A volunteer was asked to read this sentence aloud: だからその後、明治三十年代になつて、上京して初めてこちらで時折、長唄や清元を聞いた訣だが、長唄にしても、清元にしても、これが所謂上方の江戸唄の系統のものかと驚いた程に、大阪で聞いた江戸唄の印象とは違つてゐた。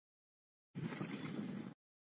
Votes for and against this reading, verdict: 0, 2, rejected